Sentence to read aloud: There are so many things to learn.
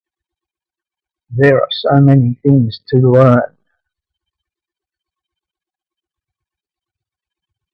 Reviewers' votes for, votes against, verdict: 1, 2, rejected